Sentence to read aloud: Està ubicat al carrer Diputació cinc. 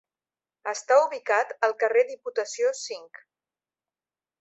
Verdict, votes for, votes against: accepted, 2, 0